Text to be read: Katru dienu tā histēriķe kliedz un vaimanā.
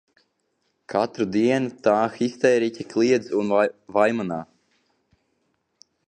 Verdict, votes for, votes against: rejected, 0, 2